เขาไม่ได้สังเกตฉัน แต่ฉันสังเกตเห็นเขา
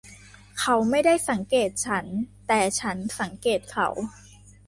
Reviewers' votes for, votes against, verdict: 0, 2, rejected